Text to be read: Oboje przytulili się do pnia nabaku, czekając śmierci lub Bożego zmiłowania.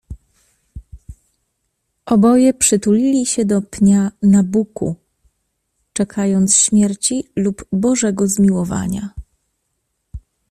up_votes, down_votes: 1, 2